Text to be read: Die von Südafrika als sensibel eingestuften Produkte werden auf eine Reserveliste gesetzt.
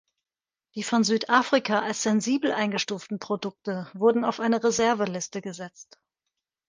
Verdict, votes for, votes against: rejected, 1, 2